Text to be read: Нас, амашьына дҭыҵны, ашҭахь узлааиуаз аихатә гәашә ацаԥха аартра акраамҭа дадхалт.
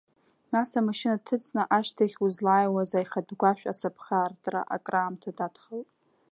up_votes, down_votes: 2, 0